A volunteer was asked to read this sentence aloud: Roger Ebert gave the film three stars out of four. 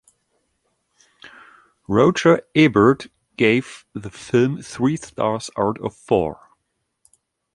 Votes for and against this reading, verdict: 2, 1, accepted